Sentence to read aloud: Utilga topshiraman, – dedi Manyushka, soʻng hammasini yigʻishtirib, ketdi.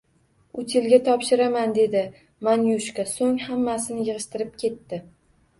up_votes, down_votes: 0, 2